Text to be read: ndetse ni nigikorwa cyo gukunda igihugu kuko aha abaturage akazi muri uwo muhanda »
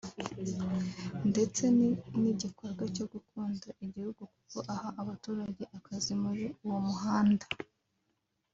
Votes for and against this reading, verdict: 3, 0, accepted